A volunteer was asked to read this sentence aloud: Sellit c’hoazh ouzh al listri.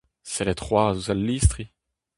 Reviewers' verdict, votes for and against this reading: rejected, 2, 2